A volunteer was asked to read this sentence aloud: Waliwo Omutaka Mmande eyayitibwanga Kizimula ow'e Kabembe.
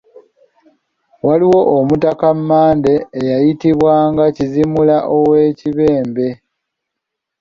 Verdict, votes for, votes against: rejected, 0, 2